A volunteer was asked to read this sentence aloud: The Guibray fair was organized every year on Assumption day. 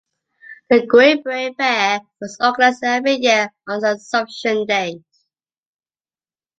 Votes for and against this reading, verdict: 0, 2, rejected